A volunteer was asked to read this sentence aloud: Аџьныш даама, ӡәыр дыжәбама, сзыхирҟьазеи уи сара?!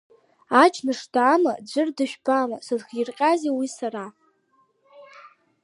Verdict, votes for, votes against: accepted, 2, 0